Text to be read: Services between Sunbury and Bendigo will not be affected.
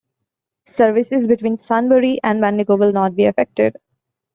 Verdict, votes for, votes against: accepted, 2, 1